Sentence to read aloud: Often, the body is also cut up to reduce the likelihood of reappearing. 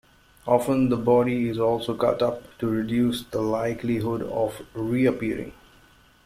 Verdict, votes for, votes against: accepted, 2, 0